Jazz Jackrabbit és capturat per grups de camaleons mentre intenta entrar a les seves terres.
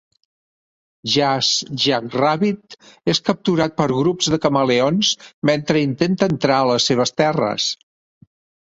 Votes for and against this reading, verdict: 2, 0, accepted